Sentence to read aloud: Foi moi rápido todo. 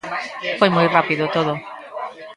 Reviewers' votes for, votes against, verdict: 1, 2, rejected